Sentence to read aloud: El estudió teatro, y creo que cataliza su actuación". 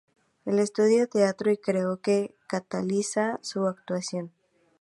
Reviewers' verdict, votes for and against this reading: accepted, 2, 0